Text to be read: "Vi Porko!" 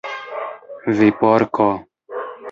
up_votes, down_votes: 0, 2